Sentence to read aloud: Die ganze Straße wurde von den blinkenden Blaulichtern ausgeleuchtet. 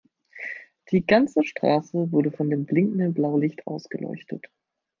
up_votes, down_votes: 1, 2